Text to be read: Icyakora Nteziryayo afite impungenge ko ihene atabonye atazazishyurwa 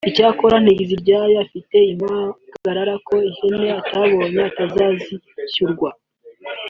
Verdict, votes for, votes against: rejected, 0, 2